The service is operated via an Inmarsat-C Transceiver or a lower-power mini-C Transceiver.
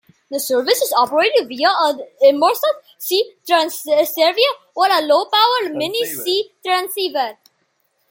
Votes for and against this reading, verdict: 0, 2, rejected